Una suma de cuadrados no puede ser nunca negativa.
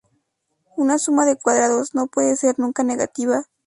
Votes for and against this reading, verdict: 2, 0, accepted